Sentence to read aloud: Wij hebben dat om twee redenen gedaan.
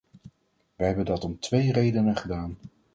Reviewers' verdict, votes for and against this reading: accepted, 4, 0